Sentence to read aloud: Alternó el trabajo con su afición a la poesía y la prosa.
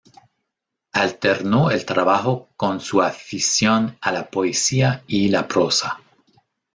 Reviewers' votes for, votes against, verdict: 2, 3, rejected